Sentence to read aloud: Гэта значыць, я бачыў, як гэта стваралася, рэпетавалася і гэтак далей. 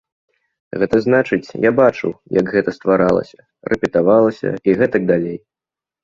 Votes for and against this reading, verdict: 2, 0, accepted